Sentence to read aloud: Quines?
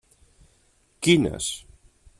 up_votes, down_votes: 3, 0